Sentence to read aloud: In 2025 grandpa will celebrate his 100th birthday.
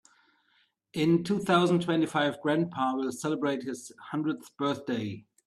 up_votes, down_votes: 0, 2